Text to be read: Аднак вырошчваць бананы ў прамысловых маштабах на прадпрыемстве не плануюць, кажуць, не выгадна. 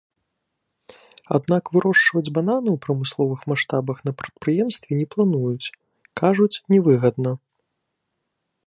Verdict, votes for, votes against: accepted, 2, 0